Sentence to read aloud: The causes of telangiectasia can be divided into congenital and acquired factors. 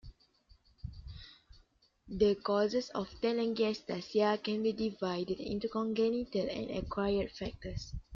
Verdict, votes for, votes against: rejected, 1, 2